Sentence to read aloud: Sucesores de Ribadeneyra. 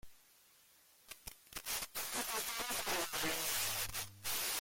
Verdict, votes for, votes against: rejected, 0, 2